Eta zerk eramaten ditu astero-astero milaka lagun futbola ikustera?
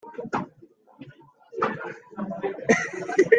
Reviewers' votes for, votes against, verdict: 0, 2, rejected